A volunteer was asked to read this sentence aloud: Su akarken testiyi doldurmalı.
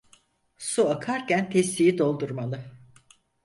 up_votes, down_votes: 4, 0